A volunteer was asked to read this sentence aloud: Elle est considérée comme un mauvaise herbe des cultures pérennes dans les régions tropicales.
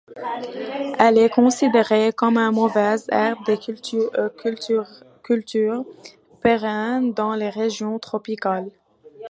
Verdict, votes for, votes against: rejected, 0, 2